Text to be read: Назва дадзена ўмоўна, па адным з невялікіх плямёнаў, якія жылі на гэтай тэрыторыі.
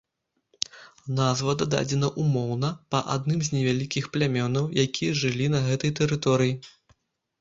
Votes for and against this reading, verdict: 1, 2, rejected